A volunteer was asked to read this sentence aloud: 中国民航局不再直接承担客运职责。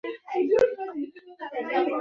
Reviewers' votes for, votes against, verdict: 0, 2, rejected